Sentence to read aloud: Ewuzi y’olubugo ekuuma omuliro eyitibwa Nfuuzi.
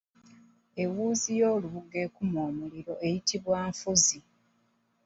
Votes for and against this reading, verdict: 2, 0, accepted